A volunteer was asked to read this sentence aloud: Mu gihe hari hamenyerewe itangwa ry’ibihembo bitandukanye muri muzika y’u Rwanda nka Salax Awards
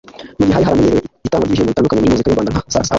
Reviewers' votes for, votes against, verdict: 1, 2, rejected